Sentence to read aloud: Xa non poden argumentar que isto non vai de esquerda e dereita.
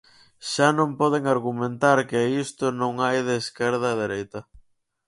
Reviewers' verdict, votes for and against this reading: rejected, 0, 4